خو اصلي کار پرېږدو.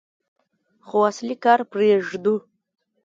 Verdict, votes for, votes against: accepted, 2, 0